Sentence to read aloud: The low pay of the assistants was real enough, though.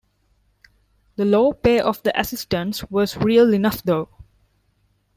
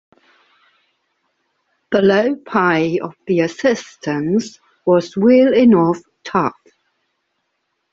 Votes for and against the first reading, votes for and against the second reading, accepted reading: 2, 0, 1, 2, first